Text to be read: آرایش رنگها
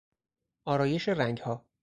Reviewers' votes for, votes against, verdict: 2, 2, rejected